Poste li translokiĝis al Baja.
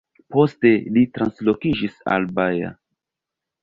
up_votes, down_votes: 0, 2